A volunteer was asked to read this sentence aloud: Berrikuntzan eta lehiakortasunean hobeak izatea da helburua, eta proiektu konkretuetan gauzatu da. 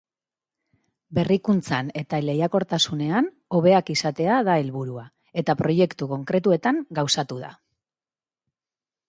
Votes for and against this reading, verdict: 3, 0, accepted